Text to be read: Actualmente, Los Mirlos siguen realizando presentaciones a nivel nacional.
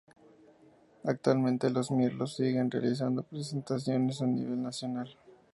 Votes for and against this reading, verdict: 2, 0, accepted